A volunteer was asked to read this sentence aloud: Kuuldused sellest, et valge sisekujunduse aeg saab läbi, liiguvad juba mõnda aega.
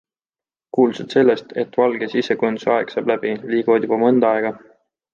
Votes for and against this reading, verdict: 2, 1, accepted